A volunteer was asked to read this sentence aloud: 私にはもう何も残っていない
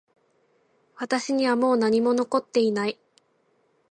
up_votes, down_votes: 2, 0